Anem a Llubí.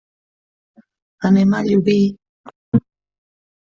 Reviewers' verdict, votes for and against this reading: rejected, 1, 2